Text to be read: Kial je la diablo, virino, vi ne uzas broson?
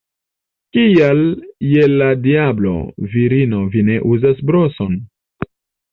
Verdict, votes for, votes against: accepted, 3, 1